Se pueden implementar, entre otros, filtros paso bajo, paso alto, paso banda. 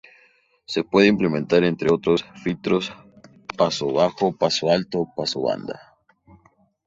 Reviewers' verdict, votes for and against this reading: accepted, 4, 0